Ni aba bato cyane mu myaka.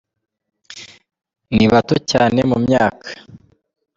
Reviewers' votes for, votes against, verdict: 2, 0, accepted